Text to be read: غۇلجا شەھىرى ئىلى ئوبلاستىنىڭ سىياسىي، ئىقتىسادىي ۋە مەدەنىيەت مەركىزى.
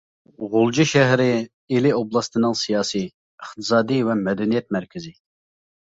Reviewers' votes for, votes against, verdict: 2, 0, accepted